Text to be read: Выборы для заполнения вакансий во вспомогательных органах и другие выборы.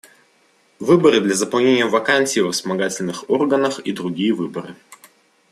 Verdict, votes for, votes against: accepted, 2, 0